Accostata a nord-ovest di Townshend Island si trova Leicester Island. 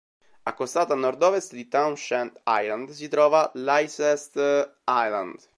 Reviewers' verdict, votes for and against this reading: rejected, 0, 2